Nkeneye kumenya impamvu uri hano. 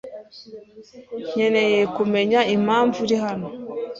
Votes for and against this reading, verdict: 2, 0, accepted